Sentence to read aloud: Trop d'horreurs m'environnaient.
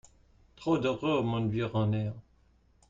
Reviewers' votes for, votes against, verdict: 1, 2, rejected